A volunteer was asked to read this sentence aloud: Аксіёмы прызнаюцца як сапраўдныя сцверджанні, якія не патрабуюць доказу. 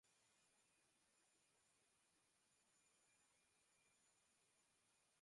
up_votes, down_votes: 0, 2